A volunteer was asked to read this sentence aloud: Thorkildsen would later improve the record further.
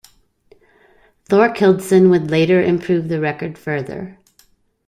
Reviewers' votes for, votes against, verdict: 2, 0, accepted